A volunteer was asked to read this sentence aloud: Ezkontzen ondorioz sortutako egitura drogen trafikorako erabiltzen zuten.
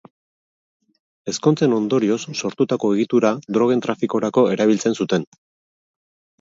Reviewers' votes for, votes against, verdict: 4, 0, accepted